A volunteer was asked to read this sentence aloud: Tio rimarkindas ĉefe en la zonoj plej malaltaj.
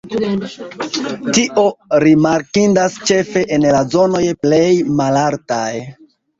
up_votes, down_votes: 3, 4